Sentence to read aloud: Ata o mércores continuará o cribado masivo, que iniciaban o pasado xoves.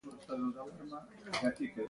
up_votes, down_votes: 0, 2